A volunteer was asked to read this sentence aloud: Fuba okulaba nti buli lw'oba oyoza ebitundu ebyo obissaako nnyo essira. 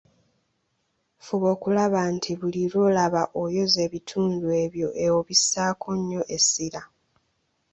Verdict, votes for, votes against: rejected, 1, 2